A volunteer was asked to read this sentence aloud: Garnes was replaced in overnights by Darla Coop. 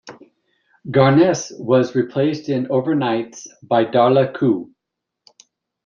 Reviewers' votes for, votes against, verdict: 2, 0, accepted